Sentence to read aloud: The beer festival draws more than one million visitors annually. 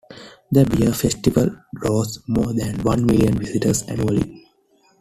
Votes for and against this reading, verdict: 2, 0, accepted